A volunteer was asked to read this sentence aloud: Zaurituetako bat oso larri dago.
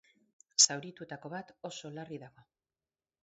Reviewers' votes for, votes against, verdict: 4, 0, accepted